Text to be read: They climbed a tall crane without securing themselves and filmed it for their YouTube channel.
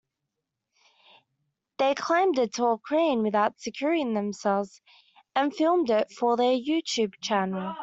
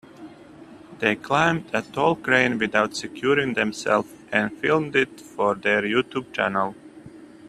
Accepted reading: second